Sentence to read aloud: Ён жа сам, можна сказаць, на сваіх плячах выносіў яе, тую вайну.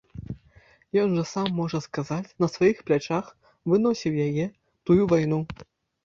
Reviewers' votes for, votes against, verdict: 0, 2, rejected